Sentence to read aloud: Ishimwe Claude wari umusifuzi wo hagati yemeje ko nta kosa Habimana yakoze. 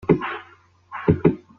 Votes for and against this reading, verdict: 0, 3, rejected